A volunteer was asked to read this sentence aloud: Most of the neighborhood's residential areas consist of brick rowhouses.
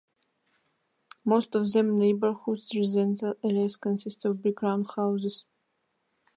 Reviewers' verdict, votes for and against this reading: rejected, 0, 3